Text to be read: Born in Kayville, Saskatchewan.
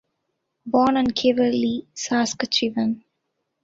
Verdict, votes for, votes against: rejected, 0, 2